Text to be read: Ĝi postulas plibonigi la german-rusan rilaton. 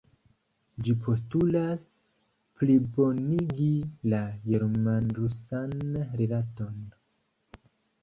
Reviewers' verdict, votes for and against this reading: rejected, 0, 2